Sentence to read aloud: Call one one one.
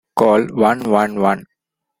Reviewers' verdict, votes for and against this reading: accepted, 2, 0